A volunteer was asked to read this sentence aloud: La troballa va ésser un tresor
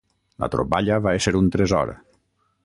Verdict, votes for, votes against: accepted, 6, 0